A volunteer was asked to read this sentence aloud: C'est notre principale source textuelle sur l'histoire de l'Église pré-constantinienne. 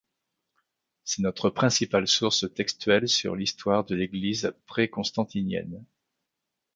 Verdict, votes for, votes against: accepted, 2, 0